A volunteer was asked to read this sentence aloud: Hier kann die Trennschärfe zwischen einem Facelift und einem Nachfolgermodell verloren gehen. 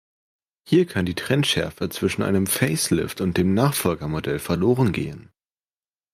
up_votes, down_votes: 0, 2